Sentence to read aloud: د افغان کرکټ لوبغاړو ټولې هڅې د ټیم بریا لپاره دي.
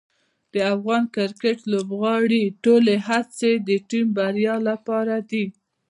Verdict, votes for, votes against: rejected, 0, 2